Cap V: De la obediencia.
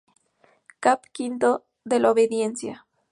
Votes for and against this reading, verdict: 0, 2, rejected